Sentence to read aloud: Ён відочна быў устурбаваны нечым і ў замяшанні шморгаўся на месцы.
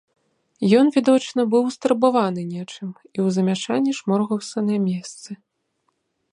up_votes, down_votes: 2, 0